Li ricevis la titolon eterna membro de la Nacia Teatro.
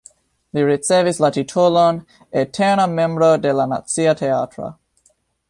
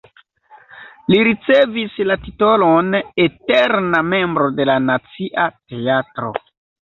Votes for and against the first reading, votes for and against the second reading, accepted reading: 0, 2, 2, 0, second